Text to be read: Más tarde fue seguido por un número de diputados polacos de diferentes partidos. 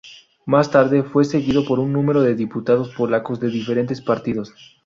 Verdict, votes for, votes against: accepted, 2, 0